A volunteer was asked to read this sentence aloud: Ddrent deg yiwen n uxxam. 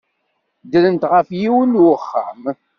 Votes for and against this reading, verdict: 1, 2, rejected